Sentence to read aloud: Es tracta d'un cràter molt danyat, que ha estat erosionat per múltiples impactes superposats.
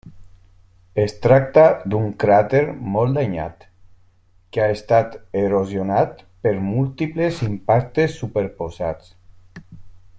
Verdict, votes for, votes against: rejected, 1, 2